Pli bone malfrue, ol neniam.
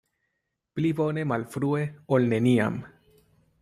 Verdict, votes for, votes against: accepted, 2, 0